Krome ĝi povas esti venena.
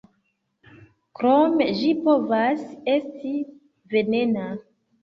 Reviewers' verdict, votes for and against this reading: accepted, 2, 1